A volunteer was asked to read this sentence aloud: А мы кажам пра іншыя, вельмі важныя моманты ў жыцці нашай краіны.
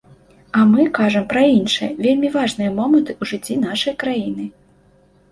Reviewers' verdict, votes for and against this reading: accepted, 2, 0